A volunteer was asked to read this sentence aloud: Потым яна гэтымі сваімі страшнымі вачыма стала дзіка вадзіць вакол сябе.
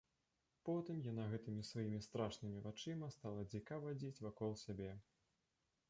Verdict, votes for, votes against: rejected, 0, 2